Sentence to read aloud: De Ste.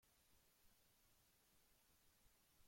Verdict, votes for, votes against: rejected, 0, 2